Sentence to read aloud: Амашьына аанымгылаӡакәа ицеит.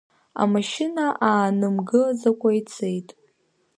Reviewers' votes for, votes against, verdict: 1, 2, rejected